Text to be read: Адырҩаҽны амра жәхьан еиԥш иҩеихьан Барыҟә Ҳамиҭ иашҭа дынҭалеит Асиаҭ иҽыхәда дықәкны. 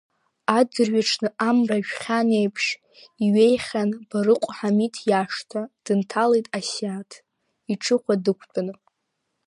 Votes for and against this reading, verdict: 0, 2, rejected